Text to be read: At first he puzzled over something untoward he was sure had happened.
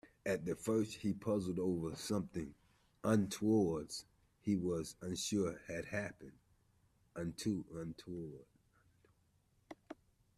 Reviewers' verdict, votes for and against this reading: rejected, 0, 2